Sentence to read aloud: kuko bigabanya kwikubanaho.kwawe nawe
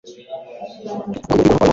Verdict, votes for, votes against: accepted, 2, 0